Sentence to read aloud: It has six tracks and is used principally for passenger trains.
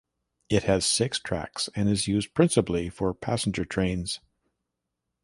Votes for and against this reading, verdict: 3, 0, accepted